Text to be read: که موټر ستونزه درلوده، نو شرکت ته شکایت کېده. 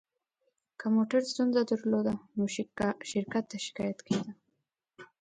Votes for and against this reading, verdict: 0, 3, rejected